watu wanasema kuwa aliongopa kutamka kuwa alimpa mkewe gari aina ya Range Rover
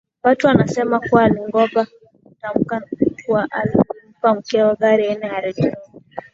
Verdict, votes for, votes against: accepted, 3, 1